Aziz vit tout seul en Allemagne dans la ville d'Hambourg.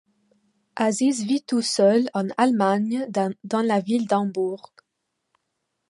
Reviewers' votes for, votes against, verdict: 1, 2, rejected